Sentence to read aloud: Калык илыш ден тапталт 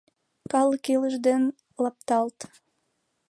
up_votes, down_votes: 1, 2